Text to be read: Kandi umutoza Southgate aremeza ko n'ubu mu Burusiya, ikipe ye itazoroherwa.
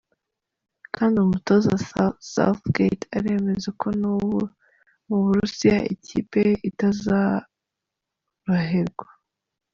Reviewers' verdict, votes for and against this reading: rejected, 0, 4